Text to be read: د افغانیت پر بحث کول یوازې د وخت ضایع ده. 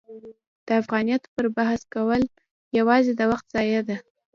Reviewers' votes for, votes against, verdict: 2, 0, accepted